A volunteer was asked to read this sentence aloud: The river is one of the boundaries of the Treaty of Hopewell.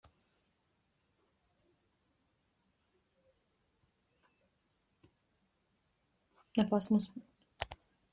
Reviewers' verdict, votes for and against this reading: rejected, 0, 2